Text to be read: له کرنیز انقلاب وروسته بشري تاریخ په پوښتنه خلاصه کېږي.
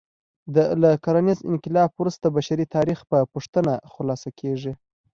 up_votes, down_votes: 2, 0